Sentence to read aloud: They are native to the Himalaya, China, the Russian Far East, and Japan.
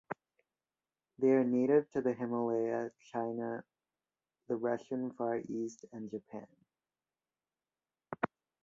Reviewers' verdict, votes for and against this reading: rejected, 1, 2